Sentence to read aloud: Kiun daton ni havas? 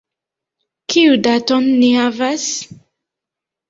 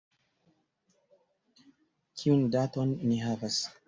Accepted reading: second